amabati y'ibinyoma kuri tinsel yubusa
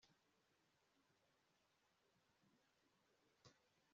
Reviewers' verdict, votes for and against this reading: rejected, 0, 2